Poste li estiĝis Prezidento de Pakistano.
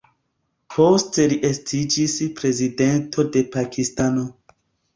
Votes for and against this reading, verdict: 2, 1, accepted